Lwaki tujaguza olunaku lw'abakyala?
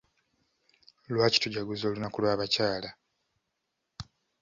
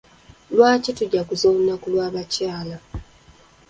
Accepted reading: first